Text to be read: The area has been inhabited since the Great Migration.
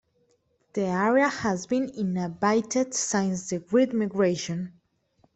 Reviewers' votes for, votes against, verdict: 0, 2, rejected